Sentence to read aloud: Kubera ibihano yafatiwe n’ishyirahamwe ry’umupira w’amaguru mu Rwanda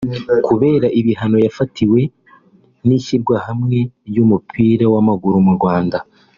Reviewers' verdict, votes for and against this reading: rejected, 0, 3